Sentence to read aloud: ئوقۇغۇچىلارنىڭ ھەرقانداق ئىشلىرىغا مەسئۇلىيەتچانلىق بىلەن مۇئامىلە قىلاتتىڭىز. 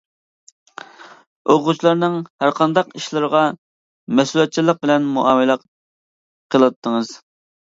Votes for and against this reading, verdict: 2, 0, accepted